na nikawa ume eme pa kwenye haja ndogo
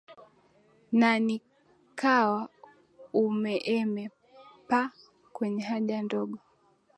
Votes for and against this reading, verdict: 2, 1, accepted